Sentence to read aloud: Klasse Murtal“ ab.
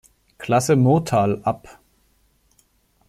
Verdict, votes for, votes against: accepted, 2, 0